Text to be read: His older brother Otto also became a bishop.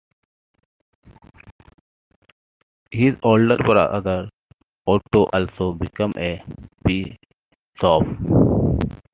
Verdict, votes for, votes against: rejected, 0, 2